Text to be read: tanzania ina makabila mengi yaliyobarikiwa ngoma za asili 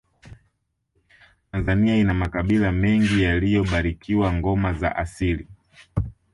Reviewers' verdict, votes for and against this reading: accepted, 3, 1